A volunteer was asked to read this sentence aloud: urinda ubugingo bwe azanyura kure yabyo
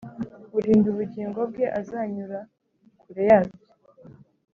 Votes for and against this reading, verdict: 2, 0, accepted